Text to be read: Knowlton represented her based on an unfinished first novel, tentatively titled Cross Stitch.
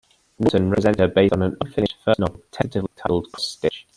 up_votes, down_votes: 1, 2